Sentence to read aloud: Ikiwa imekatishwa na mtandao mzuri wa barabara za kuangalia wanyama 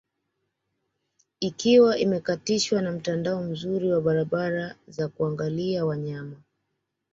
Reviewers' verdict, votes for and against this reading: accepted, 2, 0